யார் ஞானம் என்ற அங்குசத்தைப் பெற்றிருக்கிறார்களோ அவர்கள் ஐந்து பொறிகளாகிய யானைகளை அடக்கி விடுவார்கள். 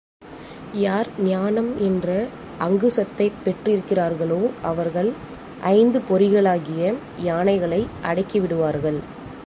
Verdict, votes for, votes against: accepted, 2, 0